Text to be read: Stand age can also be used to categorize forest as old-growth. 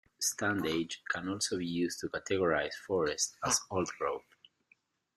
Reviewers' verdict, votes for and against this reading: accepted, 2, 1